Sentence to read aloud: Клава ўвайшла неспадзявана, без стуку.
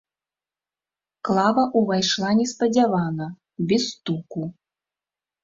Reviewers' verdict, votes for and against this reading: accepted, 2, 0